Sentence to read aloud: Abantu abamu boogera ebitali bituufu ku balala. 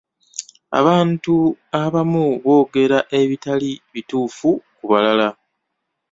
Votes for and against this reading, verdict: 2, 0, accepted